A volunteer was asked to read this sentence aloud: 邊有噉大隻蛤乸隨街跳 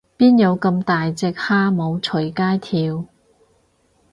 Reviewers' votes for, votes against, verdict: 0, 4, rejected